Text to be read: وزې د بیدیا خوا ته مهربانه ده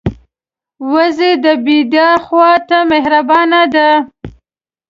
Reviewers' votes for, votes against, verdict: 2, 0, accepted